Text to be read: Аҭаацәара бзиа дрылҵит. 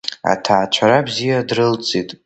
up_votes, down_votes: 2, 1